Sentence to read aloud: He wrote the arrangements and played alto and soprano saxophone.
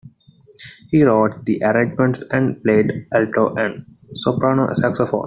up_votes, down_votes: 2, 0